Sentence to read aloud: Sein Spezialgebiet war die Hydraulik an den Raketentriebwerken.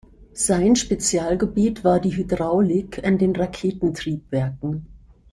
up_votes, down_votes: 3, 0